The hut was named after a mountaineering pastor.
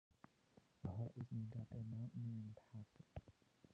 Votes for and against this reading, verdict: 0, 2, rejected